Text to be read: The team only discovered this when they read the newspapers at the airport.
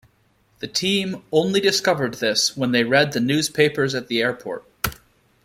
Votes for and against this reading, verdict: 2, 0, accepted